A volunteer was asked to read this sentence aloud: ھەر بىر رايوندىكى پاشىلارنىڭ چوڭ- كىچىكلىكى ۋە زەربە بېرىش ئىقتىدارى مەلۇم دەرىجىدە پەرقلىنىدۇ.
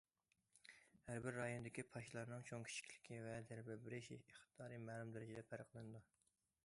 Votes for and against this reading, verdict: 2, 0, accepted